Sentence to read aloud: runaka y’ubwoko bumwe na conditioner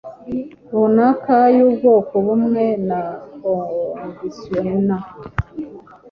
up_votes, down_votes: 2, 0